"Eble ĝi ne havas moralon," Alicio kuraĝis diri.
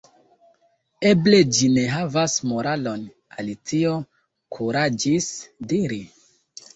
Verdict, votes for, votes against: accepted, 2, 0